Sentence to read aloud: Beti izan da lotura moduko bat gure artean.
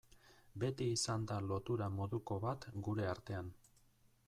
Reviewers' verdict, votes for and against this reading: rejected, 1, 2